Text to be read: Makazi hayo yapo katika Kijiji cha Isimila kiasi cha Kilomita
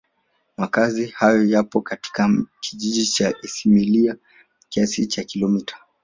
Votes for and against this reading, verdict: 0, 2, rejected